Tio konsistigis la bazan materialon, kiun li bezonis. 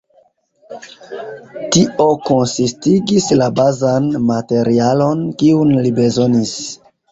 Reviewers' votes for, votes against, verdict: 2, 0, accepted